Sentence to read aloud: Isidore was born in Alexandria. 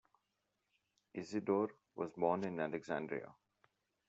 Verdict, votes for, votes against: accepted, 2, 0